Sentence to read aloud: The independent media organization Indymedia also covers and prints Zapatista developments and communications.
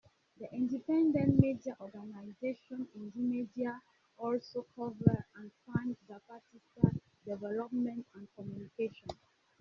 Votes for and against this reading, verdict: 2, 1, accepted